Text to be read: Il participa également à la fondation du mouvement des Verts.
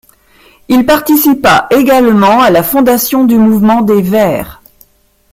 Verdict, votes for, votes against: rejected, 1, 2